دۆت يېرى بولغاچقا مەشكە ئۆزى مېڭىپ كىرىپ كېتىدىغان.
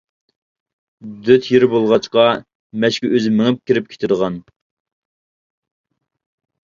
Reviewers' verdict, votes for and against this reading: accepted, 2, 0